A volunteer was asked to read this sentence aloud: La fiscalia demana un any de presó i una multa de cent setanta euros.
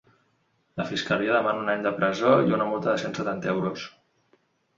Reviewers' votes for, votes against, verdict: 3, 0, accepted